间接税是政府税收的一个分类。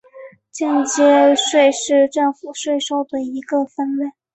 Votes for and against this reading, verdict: 3, 0, accepted